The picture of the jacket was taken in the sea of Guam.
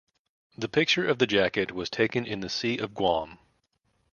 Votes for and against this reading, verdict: 2, 0, accepted